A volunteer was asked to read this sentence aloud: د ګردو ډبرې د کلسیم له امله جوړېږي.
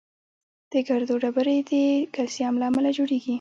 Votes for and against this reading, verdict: 2, 0, accepted